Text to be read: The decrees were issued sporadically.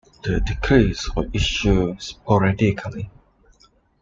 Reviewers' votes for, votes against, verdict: 1, 2, rejected